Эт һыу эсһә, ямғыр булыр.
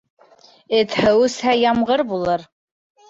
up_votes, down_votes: 0, 2